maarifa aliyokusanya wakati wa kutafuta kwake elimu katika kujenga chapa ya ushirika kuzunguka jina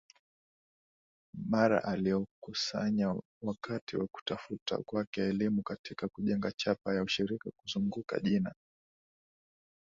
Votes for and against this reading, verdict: 2, 0, accepted